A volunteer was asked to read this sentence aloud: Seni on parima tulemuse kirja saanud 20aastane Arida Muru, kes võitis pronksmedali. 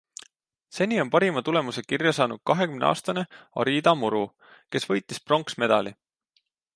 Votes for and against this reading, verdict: 0, 2, rejected